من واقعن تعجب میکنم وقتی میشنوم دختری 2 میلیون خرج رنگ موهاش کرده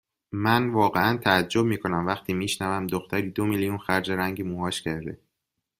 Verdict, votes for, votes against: rejected, 0, 2